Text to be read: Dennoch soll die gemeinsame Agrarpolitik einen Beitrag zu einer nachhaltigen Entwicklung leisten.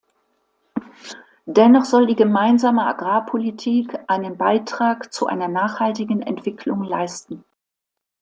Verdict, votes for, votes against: accepted, 2, 0